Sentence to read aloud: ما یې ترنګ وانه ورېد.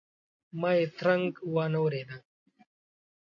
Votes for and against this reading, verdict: 2, 0, accepted